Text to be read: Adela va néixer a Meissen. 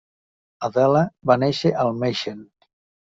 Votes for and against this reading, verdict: 0, 2, rejected